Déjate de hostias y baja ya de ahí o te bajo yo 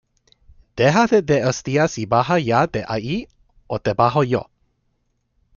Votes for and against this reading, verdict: 1, 2, rejected